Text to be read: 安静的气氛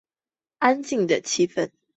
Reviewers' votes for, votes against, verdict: 2, 0, accepted